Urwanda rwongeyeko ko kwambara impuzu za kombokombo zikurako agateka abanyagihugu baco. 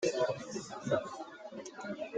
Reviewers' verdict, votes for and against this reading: rejected, 0, 2